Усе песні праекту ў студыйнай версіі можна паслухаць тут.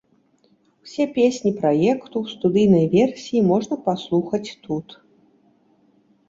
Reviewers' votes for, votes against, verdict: 2, 0, accepted